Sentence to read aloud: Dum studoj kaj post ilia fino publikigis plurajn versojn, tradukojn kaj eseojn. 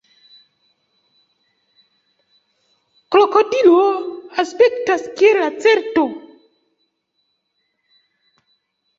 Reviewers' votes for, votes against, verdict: 0, 2, rejected